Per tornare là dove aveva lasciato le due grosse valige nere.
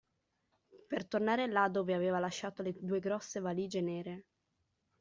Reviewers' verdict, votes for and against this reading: accepted, 2, 1